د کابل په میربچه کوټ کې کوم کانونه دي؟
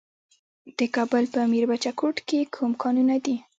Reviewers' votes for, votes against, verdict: 0, 2, rejected